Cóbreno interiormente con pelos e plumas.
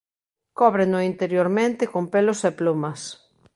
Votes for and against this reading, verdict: 2, 0, accepted